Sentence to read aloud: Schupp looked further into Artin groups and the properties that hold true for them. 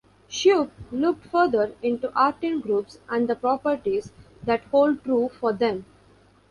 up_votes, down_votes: 1, 2